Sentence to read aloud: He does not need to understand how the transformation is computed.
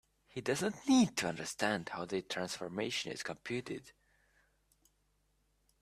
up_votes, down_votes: 1, 2